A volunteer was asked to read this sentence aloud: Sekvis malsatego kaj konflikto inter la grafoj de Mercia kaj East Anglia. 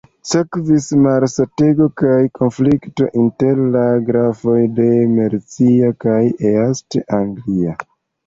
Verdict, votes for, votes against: rejected, 2, 3